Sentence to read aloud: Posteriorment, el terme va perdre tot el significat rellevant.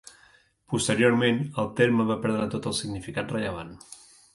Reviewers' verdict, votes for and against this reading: accepted, 2, 0